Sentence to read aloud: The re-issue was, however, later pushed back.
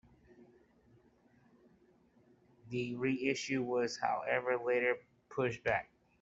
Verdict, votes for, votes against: accepted, 2, 1